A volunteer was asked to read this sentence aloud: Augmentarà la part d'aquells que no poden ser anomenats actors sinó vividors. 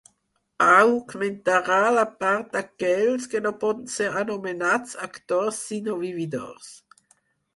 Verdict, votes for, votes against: rejected, 0, 4